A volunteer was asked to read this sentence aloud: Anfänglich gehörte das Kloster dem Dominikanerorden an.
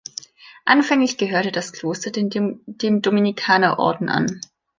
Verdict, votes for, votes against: rejected, 0, 2